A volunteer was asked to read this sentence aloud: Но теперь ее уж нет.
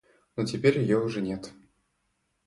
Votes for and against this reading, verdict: 1, 2, rejected